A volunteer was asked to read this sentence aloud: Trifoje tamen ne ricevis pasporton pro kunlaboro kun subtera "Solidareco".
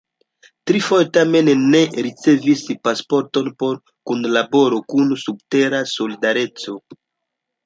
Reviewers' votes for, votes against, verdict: 2, 0, accepted